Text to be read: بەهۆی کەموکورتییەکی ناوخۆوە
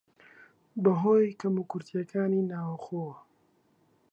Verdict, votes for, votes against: rejected, 0, 2